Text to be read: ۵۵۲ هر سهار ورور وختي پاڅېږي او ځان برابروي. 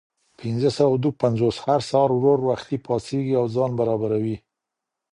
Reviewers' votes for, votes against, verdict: 0, 2, rejected